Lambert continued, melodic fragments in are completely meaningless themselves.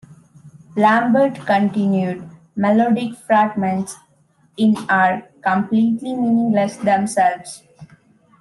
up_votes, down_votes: 1, 2